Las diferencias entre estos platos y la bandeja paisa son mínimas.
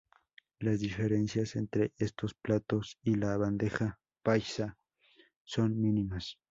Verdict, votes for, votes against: accepted, 4, 0